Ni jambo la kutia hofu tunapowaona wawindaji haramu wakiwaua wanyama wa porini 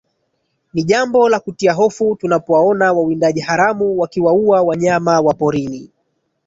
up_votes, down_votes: 1, 2